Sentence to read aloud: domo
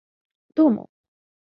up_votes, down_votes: 2, 3